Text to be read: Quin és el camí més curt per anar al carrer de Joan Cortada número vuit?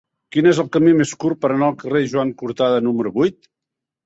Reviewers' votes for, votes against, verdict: 3, 2, accepted